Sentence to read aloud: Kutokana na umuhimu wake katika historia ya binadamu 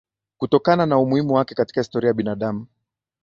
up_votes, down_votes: 5, 0